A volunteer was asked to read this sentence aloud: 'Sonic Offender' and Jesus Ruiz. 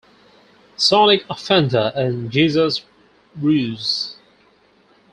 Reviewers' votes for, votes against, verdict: 0, 4, rejected